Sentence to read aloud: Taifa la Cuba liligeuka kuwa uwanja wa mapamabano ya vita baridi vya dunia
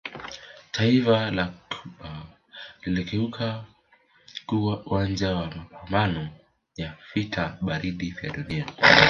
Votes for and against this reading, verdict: 0, 2, rejected